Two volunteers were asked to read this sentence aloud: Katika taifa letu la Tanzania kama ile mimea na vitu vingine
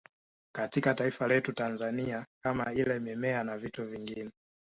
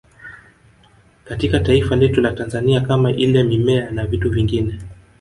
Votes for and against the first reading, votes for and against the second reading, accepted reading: 2, 1, 0, 2, first